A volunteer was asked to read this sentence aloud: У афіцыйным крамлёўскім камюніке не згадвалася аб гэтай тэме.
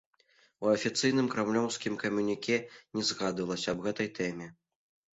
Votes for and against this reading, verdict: 2, 0, accepted